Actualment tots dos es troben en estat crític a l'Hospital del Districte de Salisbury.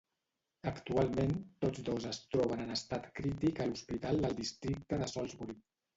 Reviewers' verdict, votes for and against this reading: accepted, 2, 0